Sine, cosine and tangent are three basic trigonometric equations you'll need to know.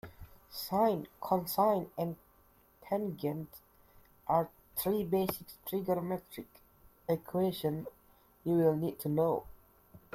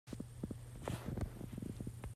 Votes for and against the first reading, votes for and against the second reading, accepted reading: 2, 1, 0, 2, first